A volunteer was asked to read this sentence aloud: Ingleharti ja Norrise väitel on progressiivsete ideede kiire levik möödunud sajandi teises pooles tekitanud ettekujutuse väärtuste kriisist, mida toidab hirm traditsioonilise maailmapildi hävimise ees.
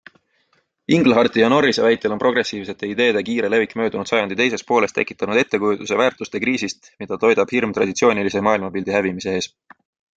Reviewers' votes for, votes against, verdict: 3, 0, accepted